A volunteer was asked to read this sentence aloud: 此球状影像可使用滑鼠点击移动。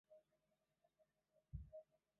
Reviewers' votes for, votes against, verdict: 1, 3, rejected